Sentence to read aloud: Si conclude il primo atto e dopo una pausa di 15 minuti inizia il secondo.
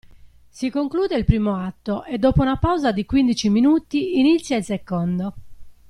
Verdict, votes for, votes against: rejected, 0, 2